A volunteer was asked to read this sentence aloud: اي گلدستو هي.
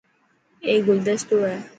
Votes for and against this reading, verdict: 4, 0, accepted